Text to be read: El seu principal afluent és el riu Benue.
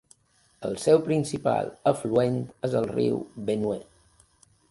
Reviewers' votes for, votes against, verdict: 2, 0, accepted